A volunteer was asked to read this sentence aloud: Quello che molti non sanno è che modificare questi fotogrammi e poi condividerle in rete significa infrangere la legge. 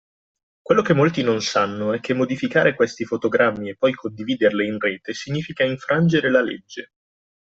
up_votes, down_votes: 2, 0